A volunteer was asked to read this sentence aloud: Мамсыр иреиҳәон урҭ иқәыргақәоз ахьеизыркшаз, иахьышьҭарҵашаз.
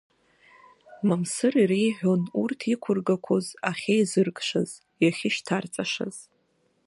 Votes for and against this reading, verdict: 0, 2, rejected